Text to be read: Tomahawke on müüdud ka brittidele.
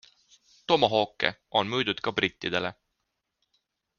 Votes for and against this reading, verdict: 2, 1, accepted